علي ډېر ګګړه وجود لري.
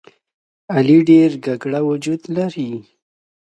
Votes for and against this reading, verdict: 2, 0, accepted